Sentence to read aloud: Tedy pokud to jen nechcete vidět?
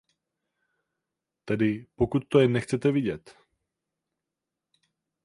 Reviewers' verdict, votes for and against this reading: rejected, 0, 4